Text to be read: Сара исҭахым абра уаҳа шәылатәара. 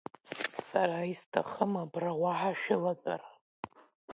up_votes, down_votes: 2, 1